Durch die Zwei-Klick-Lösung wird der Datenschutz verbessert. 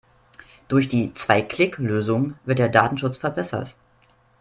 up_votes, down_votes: 4, 0